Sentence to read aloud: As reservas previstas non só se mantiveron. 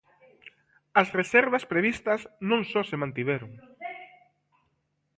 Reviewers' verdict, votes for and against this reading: accepted, 2, 0